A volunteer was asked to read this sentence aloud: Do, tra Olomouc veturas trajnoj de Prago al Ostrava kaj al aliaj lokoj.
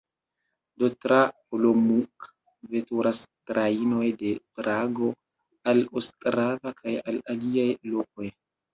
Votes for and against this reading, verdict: 0, 2, rejected